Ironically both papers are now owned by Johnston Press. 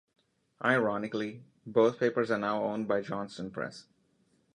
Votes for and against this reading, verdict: 2, 1, accepted